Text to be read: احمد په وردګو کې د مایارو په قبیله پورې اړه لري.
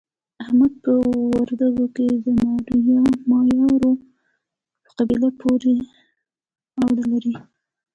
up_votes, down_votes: 1, 2